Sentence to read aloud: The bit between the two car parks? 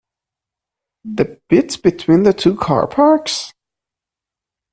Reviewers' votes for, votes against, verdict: 1, 2, rejected